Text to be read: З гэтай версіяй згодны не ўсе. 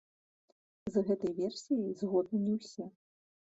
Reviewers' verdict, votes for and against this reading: rejected, 1, 2